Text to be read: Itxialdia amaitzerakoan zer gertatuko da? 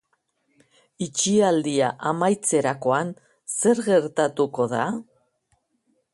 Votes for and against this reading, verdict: 5, 0, accepted